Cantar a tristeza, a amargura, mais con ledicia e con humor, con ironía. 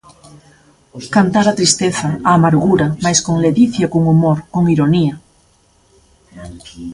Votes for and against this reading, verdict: 1, 2, rejected